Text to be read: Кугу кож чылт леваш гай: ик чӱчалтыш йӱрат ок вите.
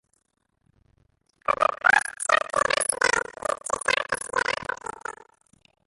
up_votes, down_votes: 0, 2